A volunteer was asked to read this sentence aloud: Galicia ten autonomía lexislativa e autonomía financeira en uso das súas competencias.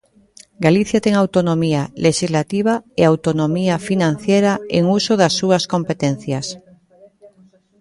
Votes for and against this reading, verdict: 0, 2, rejected